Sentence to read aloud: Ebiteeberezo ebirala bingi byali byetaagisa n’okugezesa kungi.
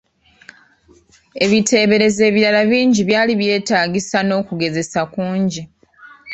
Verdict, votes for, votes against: accepted, 2, 1